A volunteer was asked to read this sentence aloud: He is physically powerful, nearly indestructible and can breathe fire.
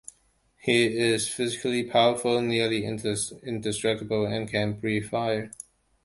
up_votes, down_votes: 0, 2